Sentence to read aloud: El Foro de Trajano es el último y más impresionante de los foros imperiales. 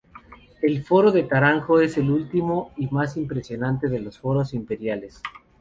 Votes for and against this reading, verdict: 0, 2, rejected